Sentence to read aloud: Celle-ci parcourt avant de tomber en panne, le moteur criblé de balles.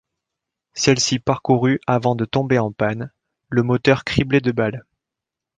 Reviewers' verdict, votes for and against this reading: rejected, 1, 2